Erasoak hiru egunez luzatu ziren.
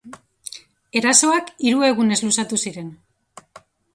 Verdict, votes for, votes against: accepted, 2, 0